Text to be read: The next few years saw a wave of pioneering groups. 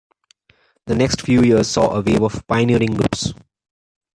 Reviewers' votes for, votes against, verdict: 2, 0, accepted